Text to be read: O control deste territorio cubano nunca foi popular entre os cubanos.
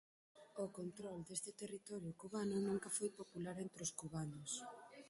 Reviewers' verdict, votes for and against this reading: rejected, 0, 4